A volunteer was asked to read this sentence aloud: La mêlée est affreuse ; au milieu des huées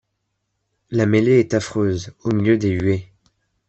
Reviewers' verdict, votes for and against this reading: accepted, 2, 0